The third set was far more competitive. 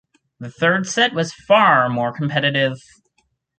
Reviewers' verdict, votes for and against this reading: accepted, 6, 0